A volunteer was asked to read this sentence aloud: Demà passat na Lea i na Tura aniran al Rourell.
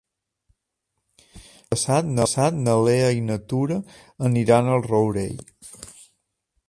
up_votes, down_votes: 0, 2